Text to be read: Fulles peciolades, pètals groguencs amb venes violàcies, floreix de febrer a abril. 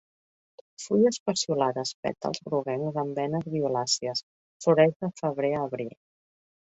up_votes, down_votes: 0, 2